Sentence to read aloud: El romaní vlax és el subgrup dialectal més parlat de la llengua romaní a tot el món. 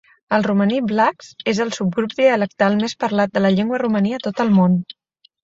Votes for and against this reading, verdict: 2, 0, accepted